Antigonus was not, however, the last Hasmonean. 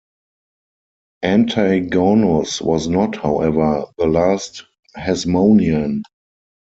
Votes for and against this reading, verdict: 4, 0, accepted